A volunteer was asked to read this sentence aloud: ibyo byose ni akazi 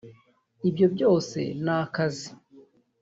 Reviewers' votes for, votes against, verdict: 1, 2, rejected